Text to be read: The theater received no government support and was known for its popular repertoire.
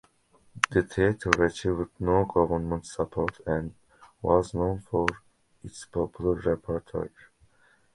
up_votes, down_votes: 1, 2